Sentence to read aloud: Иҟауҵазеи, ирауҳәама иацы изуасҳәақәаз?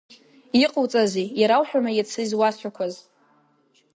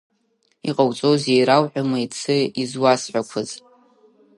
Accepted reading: first